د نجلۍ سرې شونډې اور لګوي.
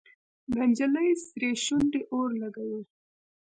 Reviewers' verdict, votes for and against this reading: accepted, 2, 0